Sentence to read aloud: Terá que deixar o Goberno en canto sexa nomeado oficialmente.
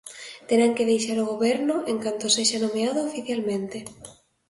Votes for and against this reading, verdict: 2, 1, accepted